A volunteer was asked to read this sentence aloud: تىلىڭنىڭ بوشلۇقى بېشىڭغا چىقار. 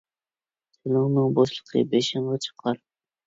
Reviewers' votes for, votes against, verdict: 0, 2, rejected